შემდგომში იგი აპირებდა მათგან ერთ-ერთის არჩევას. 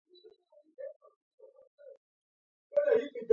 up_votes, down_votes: 0, 2